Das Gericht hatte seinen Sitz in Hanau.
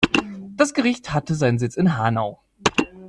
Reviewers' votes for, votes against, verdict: 2, 0, accepted